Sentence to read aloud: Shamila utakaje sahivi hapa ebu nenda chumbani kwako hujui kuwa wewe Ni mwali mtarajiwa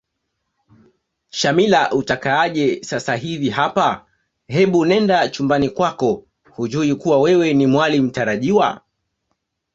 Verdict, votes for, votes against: rejected, 0, 2